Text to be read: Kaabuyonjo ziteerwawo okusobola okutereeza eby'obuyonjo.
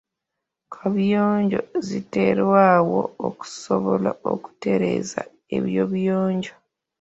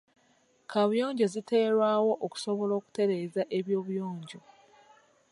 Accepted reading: second